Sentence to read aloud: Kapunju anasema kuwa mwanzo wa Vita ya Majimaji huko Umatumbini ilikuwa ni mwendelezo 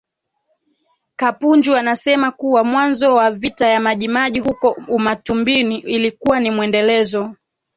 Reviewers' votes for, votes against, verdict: 2, 0, accepted